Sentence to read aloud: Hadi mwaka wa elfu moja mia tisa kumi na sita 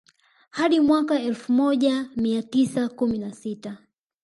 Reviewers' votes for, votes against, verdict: 3, 1, accepted